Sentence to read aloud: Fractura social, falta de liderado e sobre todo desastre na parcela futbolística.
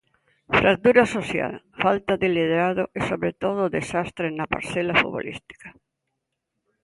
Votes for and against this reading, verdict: 2, 1, accepted